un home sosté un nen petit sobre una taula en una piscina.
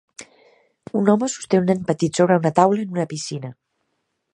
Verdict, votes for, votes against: accepted, 2, 1